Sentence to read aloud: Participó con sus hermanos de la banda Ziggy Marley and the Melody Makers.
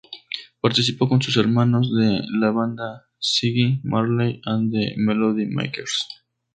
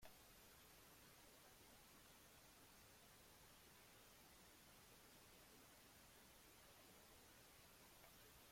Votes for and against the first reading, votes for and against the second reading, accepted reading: 2, 0, 0, 2, first